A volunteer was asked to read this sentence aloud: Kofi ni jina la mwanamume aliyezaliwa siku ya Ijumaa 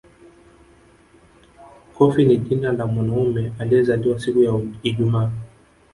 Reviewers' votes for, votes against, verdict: 2, 0, accepted